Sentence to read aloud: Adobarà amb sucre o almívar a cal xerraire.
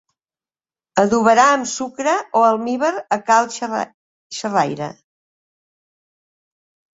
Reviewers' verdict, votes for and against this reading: rejected, 0, 3